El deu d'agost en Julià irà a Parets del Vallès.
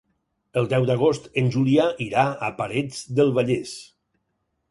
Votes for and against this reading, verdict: 6, 0, accepted